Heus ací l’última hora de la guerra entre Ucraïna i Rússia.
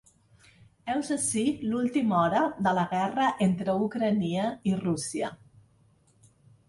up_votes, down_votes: 1, 2